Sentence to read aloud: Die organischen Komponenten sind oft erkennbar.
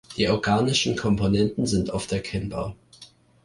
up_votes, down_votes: 3, 0